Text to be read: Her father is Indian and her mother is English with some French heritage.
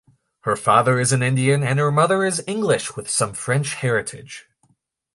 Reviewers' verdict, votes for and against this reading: accepted, 2, 1